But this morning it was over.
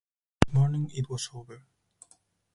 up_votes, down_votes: 0, 4